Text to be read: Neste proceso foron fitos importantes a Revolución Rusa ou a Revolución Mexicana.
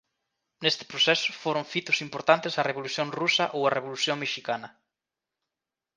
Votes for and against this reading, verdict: 2, 0, accepted